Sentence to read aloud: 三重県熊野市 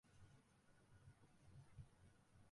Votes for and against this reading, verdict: 0, 3, rejected